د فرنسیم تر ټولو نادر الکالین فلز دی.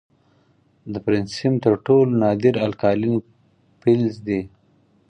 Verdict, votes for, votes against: accepted, 4, 0